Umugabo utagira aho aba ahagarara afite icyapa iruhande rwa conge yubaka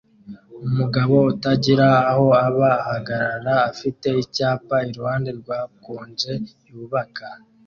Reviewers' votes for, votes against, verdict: 2, 0, accepted